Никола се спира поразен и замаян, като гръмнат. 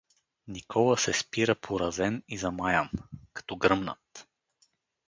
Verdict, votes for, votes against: accepted, 4, 0